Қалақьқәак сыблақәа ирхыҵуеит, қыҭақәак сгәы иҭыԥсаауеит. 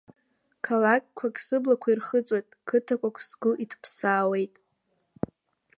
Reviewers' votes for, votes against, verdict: 0, 2, rejected